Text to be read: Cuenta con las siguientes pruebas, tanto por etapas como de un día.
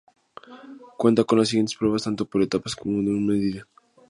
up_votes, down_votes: 0, 2